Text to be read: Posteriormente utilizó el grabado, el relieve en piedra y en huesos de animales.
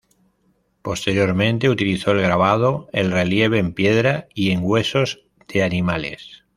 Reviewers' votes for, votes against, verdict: 2, 0, accepted